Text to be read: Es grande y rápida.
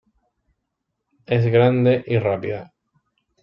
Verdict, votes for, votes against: accepted, 2, 0